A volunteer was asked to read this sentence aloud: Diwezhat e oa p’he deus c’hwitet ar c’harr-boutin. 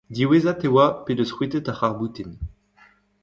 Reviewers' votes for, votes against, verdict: 1, 2, rejected